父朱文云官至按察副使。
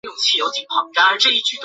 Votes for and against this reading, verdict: 0, 2, rejected